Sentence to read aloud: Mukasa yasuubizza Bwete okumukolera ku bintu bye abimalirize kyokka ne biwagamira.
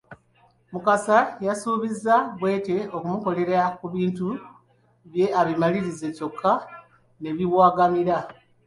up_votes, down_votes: 3, 1